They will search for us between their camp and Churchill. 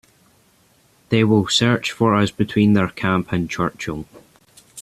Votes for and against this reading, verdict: 2, 0, accepted